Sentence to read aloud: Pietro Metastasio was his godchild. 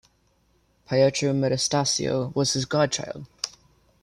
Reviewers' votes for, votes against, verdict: 2, 0, accepted